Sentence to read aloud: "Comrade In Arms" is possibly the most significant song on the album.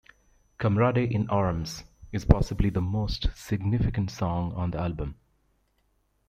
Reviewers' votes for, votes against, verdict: 0, 2, rejected